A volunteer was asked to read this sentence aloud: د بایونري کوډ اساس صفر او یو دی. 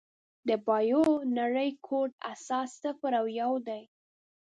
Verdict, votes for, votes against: rejected, 3, 5